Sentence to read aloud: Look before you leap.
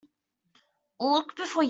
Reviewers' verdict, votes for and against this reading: rejected, 0, 2